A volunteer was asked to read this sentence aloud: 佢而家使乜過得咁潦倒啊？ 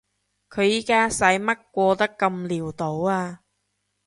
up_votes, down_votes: 1, 3